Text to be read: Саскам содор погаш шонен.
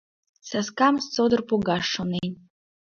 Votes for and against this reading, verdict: 2, 0, accepted